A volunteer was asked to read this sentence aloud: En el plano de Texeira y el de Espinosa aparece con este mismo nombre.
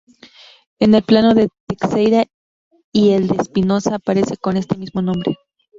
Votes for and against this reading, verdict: 0, 2, rejected